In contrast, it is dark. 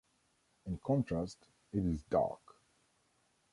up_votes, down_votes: 2, 0